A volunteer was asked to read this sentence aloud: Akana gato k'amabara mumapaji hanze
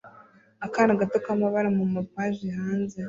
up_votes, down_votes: 0, 2